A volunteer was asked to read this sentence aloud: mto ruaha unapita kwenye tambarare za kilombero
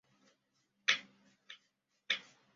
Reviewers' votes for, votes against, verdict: 0, 2, rejected